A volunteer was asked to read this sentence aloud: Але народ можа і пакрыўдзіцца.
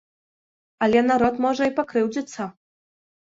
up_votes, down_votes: 2, 0